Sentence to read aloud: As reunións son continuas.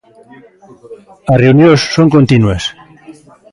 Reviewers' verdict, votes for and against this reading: accepted, 2, 0